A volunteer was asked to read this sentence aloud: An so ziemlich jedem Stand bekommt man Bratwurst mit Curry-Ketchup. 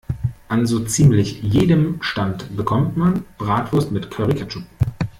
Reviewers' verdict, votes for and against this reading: rejected, 0, 2